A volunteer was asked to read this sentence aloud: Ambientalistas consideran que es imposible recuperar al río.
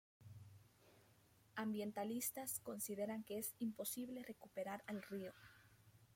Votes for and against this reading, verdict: 0, 2, rejected